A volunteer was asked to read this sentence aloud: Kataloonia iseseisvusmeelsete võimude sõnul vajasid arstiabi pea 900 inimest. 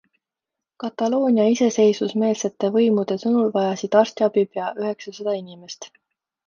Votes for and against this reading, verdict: 0, 2, rejected